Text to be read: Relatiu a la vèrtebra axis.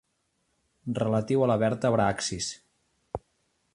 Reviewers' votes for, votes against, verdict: 2, 0, accepted